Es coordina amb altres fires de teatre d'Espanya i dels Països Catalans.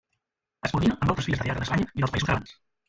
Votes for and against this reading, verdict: 0, 2, rejected